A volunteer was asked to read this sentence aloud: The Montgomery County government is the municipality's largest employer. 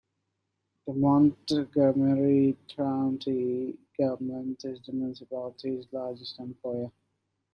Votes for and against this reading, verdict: 0, 2, rejected